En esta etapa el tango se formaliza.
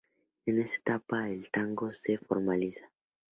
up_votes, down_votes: 2, 0